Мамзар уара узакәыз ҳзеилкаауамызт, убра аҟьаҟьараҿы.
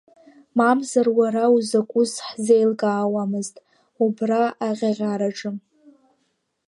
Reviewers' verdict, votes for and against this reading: accepted, 3, 2